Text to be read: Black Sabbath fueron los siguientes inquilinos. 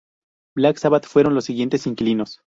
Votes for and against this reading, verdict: 2, 0, accepted